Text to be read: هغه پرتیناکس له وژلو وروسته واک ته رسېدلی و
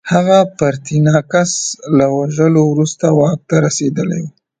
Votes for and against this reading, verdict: 0, 2, rejected